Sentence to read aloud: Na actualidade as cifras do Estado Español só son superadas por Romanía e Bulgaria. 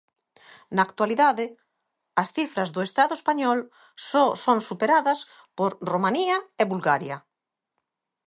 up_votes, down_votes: 2, 0